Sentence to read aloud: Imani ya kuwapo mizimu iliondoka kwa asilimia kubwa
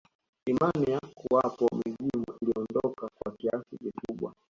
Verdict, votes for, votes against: accepted, 2, 1